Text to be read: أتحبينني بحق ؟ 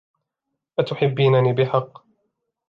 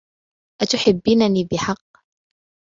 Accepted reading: second